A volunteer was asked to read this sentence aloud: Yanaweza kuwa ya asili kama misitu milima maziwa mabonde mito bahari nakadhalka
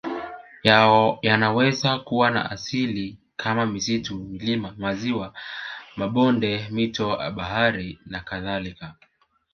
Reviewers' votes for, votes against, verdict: 3, 1, accepted